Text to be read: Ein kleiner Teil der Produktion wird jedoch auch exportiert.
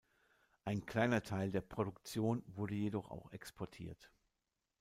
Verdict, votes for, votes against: rejected, 0, 2